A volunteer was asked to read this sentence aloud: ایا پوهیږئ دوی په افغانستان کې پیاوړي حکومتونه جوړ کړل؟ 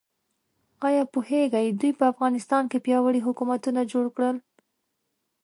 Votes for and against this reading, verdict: 2, 0, accepted